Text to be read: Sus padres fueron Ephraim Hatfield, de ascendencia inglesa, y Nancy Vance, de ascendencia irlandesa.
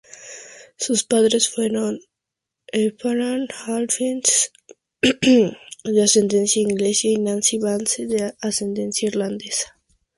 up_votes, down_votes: 0, 2